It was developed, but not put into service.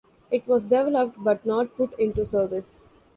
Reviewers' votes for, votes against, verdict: 0, 2, rejected